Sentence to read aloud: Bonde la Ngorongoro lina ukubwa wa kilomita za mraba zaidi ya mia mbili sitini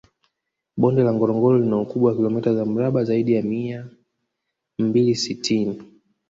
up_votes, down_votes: 0, 2